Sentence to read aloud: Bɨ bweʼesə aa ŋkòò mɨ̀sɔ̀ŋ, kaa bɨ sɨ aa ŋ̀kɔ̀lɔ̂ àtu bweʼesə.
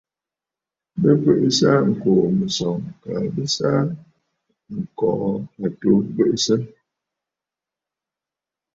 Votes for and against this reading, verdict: 2, 0, accepted